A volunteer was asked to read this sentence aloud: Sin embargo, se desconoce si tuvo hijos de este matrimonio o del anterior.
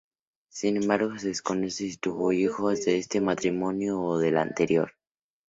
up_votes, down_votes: 2, 0